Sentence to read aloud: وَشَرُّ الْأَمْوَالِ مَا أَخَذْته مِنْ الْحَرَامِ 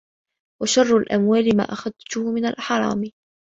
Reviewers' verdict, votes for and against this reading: accepted, 2, 1